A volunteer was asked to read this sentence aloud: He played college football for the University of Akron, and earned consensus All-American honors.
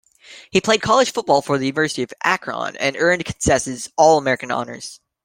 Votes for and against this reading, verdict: 0, 2, rejected